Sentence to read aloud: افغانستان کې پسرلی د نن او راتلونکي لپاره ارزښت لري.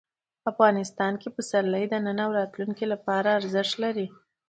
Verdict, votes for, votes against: accepted, 2, 0